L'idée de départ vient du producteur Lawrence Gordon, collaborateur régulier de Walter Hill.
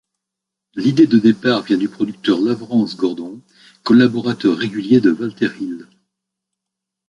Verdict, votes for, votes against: rejected, 0, 2